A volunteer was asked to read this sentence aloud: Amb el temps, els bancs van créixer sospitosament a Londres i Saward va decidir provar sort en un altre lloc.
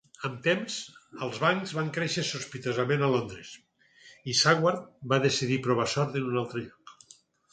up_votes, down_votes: 0, 4